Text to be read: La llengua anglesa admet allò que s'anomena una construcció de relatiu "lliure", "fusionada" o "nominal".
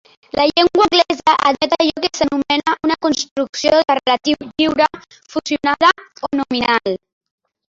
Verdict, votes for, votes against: rejected, 1, 3